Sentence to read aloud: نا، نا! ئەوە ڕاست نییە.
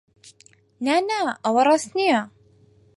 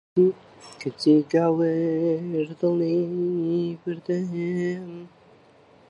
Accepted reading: first